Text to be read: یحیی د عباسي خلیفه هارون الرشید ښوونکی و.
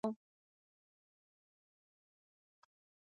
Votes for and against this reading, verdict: 0, 2, rejected